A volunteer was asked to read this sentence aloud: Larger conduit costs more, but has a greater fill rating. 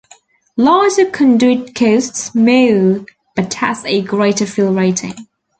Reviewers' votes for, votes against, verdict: 0, 2, rejected